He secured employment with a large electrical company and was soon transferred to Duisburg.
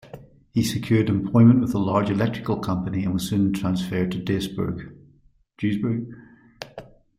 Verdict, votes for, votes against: rejected, 1, 2